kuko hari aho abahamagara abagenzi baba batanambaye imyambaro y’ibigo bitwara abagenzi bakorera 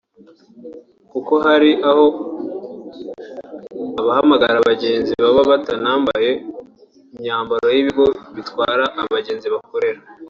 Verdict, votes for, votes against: accepted, 2, 0